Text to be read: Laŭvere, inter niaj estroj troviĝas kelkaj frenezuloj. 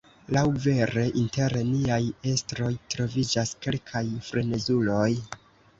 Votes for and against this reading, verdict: 1, 2, rejected